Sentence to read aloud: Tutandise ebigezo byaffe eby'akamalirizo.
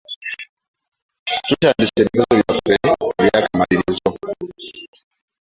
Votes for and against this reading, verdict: 2, 1, accepted